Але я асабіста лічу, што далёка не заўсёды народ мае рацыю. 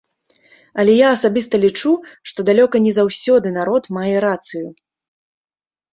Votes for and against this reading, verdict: 3, 0, accepted